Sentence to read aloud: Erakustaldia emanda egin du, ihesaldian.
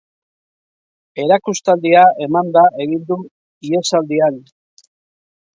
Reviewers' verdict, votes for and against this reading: accepted, 2, 0